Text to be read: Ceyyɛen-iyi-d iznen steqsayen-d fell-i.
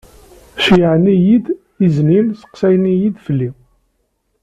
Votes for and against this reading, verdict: 1, 2, rejected